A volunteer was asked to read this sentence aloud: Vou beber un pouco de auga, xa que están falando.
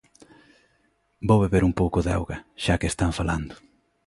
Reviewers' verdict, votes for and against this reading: accepted, 2, 0